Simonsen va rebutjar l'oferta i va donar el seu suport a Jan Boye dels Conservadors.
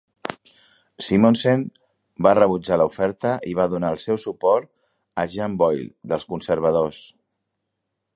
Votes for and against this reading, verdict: 4, 1, accepted